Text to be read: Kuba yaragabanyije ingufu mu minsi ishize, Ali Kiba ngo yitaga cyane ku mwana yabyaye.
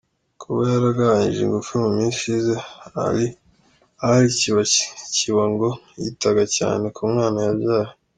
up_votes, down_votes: 1, 2